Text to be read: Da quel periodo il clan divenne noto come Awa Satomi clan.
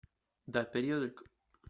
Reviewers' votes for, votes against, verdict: 0, 2, rejected